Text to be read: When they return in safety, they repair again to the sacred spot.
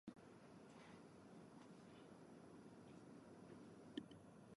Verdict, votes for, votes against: rejected, 0, 2